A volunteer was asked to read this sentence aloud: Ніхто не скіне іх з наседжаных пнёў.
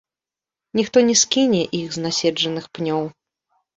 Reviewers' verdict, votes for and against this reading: accepted, 2, 0